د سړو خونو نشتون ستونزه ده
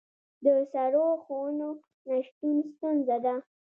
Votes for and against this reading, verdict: 2, 1, accepted